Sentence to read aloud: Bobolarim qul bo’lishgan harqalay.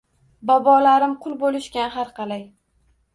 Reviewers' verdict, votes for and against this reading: accepted, 2, 0